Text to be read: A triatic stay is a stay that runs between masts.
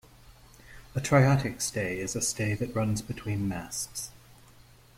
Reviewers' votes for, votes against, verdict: 2, 0, accepted